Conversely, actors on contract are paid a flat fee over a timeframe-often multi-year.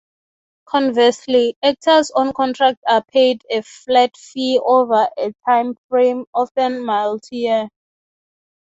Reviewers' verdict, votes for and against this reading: accepted, 6, 0